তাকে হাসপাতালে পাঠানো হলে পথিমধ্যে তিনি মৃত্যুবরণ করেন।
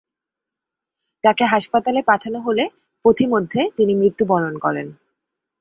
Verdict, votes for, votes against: accepted, 2, 0